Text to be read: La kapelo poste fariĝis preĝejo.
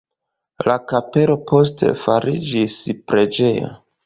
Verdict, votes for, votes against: rejected, 1, 2